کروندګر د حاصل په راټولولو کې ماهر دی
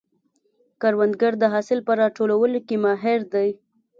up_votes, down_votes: 2, 0